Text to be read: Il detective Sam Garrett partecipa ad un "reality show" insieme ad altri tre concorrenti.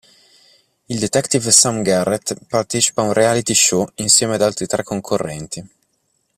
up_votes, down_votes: 3, 0